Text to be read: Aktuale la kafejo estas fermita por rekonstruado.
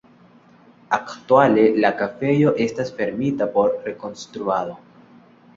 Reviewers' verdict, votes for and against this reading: accepted, 2, 0